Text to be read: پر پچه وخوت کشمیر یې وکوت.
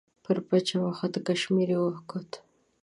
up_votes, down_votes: 2, 0